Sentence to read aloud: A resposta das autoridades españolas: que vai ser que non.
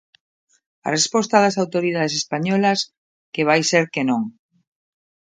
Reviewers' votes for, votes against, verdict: 2, 0, accepted